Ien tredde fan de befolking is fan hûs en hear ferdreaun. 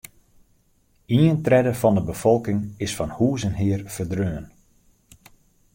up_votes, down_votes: 2, 0